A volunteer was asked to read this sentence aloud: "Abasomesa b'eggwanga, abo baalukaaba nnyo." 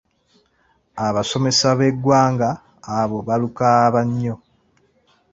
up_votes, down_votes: 2, 0